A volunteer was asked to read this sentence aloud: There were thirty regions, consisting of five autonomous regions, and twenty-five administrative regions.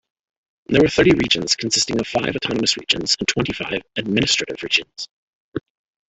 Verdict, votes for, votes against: rejected, 0, 2